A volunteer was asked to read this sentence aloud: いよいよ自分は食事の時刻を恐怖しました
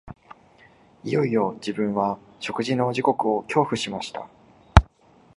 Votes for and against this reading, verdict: 3, 1, accepted